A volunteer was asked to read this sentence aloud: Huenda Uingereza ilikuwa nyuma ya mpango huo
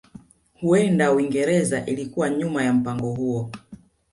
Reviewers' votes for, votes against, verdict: 2, 1, accepted